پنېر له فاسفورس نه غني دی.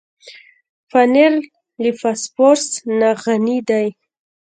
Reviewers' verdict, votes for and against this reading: rejected, 1, 2